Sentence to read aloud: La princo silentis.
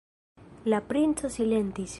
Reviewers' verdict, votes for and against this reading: accepted, 3, 0